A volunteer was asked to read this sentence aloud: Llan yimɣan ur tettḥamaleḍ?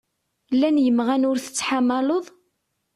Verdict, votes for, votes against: accepted, 2, 0